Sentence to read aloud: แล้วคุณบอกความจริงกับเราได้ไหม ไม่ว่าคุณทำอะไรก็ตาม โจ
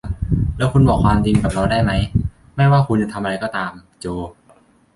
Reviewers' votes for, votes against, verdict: 0, 2, rejected